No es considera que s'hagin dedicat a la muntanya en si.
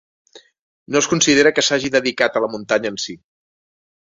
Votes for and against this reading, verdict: 1, 2, rejected